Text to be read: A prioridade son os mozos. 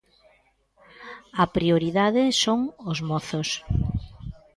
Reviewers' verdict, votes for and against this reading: accepted, 2, 0